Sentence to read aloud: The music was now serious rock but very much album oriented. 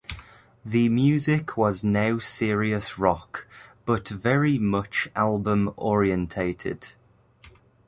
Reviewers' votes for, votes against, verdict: 0, 2, rejected